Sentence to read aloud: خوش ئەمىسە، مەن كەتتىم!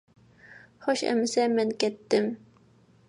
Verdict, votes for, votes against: accepted, 2, 0